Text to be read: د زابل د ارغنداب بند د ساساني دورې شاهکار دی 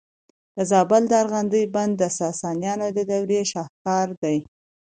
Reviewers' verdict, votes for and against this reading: accepted, 2, 0